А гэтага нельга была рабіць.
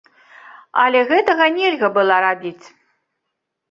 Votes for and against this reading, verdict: 0, 2, rejected